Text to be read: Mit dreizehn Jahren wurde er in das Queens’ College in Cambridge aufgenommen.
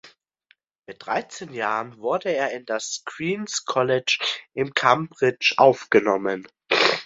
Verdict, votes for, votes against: accepted, 2, 1